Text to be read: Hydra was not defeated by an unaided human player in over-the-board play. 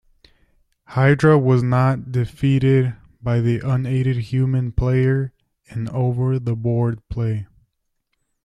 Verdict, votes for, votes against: rejected, 1, 2